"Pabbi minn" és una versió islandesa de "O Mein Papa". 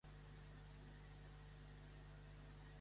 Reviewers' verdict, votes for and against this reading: accepted, 2, 1